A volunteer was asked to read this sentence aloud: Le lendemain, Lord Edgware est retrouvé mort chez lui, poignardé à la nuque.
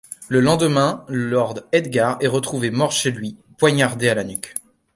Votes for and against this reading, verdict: 0, 2, rejected